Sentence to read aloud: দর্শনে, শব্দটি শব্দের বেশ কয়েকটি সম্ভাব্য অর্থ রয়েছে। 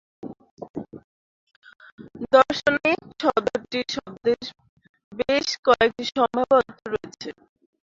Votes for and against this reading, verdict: 0, 2, rejected